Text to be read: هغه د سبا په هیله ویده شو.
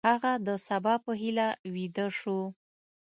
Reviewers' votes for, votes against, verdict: 2, 0, accepted